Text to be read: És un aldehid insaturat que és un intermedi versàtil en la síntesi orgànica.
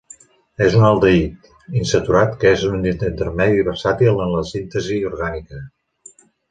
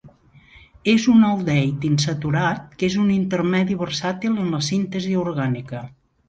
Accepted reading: second